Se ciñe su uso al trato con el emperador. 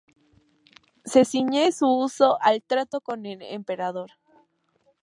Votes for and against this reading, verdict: 2, 0, accepted